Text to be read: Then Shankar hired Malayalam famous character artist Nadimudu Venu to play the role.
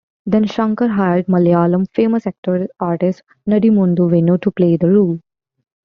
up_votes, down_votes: 2, 1